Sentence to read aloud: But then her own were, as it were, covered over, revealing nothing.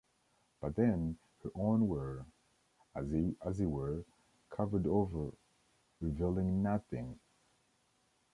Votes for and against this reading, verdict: 1, 2, rejected